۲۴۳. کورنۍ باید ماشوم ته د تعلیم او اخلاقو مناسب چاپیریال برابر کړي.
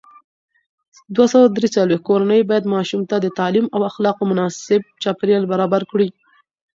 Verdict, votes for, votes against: rejected, 0, 2